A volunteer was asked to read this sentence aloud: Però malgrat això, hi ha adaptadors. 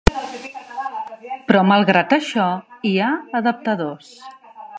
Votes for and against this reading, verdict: 3, 0, accepted